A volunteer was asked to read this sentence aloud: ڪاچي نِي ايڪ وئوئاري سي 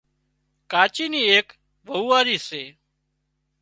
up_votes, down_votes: 2, 0